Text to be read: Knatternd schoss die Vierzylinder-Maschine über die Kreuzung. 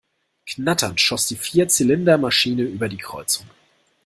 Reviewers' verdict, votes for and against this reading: accepted, 2, 0